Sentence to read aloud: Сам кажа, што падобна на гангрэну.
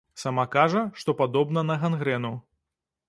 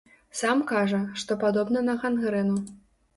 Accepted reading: second